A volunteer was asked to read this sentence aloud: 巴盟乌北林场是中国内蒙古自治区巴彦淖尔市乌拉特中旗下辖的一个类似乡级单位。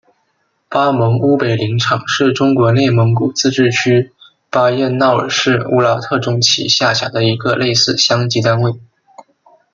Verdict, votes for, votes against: accepted, 2, 0